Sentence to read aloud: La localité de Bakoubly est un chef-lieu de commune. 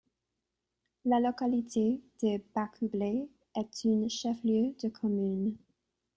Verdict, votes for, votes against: rejected, 0, 3